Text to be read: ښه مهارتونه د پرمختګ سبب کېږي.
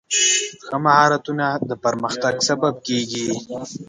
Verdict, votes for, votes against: rejected, 1, 2